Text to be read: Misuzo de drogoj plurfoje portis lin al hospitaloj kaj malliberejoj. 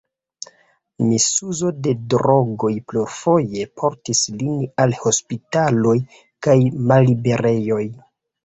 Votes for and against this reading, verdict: 0, 2, rejected